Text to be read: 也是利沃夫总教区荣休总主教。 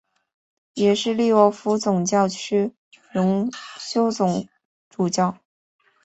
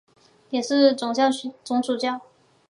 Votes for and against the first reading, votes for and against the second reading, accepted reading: 3, 0, 0, 2, first